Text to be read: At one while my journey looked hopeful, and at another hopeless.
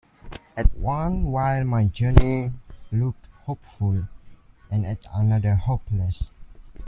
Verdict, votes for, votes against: accepted, 2, 0